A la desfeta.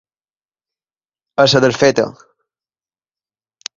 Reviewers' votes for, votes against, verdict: 0, 2, rejected